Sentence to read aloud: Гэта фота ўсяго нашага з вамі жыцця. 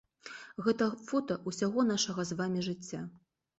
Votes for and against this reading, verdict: 2, 0, accepted